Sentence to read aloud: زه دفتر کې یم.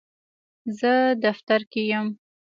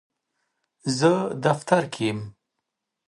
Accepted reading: first